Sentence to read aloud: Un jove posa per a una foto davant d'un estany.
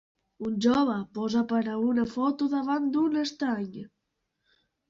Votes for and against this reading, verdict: 2, 1, accepted